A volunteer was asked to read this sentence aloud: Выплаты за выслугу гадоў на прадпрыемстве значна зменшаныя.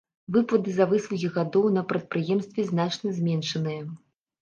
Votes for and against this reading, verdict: 1, 3, rejected